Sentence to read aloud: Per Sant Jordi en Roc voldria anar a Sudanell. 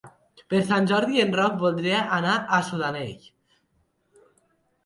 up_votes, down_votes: 2, 0